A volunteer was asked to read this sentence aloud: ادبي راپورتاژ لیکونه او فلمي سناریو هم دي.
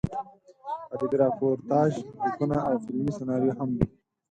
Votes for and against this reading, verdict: 0, 4, rejected